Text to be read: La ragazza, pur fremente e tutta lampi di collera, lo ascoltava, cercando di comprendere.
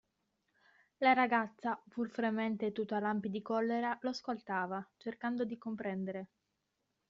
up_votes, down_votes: 0, 2